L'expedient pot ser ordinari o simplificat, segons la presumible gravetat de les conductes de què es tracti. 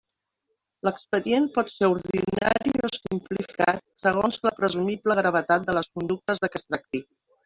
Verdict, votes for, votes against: rejected, 0, 2